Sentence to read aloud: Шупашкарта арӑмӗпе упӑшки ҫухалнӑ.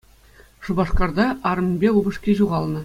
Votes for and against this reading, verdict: 2, 0, accepted